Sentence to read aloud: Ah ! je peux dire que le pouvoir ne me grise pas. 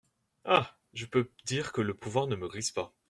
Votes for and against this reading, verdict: 0, 2, rejected